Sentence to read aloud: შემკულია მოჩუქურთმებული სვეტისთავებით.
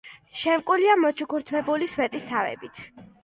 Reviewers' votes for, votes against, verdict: 2, 1, accepted